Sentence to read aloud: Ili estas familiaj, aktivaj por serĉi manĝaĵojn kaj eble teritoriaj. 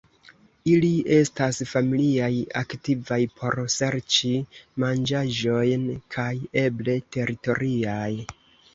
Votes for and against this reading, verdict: 2, 0, accepted